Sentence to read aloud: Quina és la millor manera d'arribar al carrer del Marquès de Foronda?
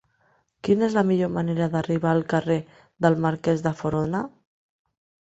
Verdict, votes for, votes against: accepted, 2, 1